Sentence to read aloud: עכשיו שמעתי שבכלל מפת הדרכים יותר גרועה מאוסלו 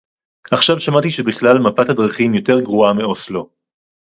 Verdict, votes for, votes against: accepted, 2, 0